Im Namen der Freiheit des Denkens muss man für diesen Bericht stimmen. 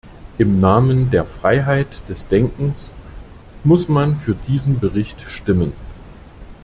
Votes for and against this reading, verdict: 2, 0, accepted